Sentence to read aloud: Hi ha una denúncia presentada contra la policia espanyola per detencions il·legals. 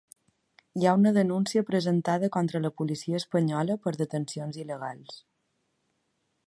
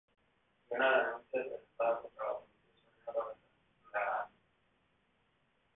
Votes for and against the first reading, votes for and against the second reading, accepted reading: 2, 0, 1, 4, first